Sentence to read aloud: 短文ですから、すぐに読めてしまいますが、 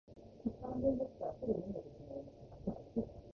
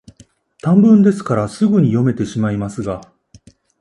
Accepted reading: second